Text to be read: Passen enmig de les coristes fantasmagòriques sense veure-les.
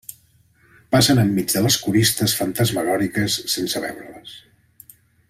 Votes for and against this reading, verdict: 1, 2, rejected